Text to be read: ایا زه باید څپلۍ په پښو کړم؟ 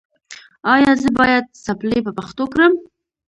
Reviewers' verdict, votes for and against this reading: accepted, 2, 0